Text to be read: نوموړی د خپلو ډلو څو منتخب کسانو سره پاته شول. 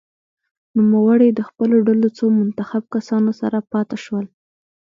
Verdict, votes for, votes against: rejected, 0, 2